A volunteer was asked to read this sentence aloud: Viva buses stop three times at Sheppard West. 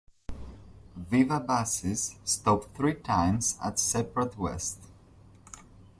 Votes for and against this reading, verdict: 1, 2, rejected